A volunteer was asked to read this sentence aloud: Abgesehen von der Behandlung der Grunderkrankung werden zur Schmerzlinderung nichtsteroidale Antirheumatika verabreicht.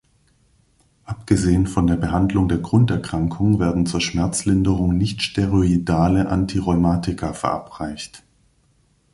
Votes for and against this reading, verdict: 2, 0, accepted